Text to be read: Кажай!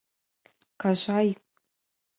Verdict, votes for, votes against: accepted, 5, 0